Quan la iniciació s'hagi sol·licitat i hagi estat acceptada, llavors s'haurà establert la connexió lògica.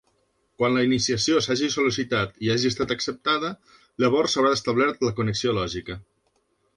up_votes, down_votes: 3, 0